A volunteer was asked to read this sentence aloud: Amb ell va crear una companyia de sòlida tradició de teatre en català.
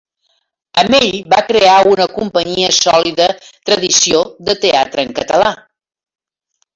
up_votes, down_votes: 0, 2